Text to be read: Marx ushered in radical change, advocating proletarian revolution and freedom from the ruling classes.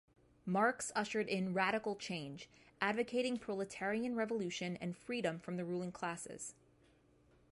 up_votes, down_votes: 1, 2